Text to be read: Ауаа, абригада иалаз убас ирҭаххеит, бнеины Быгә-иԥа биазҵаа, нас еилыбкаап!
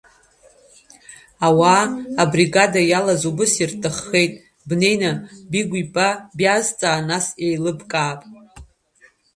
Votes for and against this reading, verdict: 1, 2, rejected